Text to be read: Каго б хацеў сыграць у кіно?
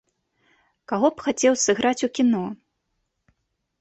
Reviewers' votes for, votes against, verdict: 2, 0, accepted